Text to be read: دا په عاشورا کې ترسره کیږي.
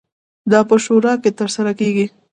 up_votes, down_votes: 1, 2